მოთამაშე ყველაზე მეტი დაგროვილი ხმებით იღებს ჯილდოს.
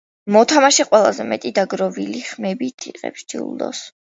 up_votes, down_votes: 2, 0